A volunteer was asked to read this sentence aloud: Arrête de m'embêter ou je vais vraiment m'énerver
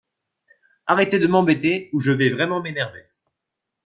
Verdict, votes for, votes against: rejected, 1, 2